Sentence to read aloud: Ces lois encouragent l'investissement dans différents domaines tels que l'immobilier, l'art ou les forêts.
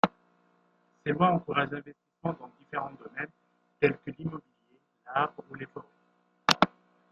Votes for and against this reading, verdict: 0, 2, rejected